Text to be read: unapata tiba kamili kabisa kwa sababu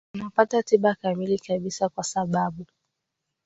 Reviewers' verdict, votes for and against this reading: rejected, 0, 2